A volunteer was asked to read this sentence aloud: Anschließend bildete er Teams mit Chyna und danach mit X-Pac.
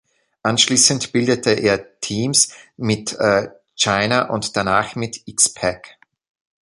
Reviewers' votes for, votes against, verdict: 0, 2, rejected